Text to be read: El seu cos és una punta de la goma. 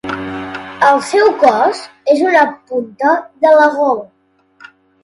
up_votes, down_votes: 0, 2